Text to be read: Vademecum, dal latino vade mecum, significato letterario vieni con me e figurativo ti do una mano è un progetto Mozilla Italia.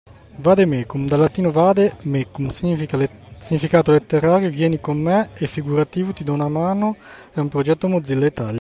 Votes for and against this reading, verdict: 1, 2, rejected